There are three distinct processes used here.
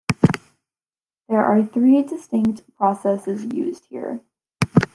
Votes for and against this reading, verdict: 2, 0, accepted